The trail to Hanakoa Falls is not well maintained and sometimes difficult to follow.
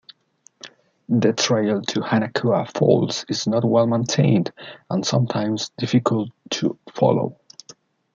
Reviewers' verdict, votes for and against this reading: accepted, 2, 1